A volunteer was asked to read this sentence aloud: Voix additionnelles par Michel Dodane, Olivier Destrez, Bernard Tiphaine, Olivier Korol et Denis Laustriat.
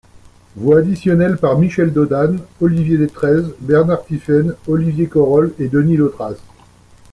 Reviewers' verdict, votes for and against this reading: accepted, 2, 0